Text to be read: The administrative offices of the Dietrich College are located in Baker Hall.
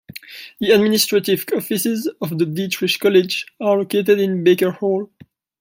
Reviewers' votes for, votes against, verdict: 2, 0, accepted